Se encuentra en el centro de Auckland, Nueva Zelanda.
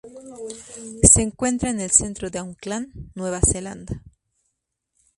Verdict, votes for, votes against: accepted, 2, 0